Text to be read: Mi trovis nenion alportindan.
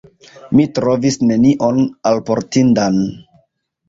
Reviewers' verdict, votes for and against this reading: accepted, 3, 0